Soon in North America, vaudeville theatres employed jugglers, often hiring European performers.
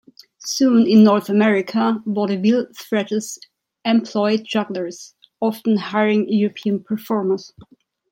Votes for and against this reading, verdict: 1, 2, rejected